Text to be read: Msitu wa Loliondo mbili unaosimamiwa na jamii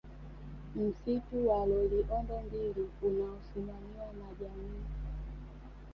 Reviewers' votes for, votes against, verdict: 2, 0, accepted